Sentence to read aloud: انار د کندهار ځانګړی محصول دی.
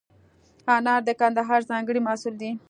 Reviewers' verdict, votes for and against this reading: accepted, 2, 0